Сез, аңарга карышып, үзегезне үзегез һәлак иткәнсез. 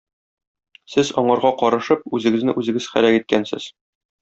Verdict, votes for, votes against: accepted, 2, 0